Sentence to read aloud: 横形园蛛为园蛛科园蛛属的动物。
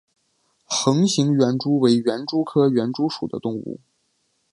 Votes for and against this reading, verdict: 4, 0, accepted